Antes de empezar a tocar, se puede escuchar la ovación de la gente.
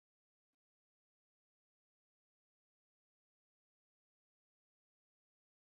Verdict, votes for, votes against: rejected, 0, 2